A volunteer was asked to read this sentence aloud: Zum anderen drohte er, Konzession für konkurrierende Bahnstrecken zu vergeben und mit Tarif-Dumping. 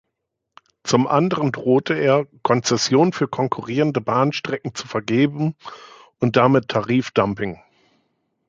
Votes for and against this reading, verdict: 0, 2, rejected